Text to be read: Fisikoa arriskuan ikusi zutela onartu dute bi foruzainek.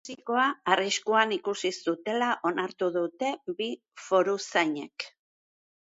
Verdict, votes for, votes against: rejected, 1, 2